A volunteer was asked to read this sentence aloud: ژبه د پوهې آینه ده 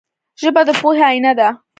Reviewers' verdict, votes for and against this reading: rejected, 1, 2